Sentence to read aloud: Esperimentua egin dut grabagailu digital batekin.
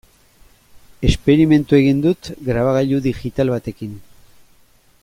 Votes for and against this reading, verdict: 2, 0, accepted